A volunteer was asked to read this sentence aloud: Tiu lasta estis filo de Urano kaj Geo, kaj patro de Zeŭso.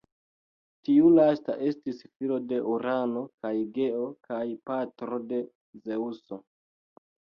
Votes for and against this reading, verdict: 1, 2, rejected